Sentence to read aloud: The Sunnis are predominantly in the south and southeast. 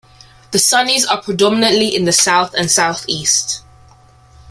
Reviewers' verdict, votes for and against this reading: accepted, 2, 1